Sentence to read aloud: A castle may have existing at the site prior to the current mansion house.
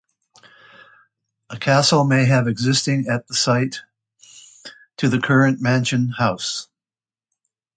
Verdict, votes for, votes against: rejected, 1, 2